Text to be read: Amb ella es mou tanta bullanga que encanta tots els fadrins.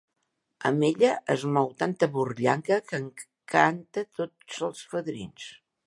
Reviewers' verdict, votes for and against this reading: rejected, 1, 2